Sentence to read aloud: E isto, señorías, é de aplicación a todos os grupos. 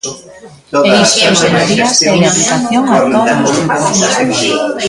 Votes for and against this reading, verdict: 0, 2, rejected